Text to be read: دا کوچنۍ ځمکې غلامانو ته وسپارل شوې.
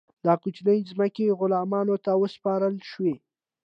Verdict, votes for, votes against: accepted, 2, 0